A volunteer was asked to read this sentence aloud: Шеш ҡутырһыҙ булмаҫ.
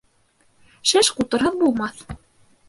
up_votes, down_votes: 2, 0